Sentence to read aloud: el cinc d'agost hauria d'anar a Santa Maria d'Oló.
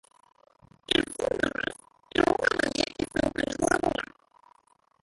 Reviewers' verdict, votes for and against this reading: rejected, 0, 3